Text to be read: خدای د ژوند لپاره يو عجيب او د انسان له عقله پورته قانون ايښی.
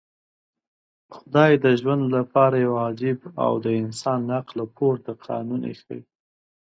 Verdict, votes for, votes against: accepted, 2, 0